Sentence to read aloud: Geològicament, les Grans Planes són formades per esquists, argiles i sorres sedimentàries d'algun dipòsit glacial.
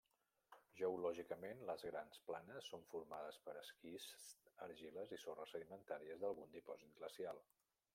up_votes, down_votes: 1, 2